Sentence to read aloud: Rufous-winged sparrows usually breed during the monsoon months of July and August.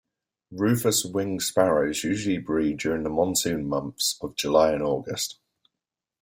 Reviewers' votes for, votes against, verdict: 2, 1, accepted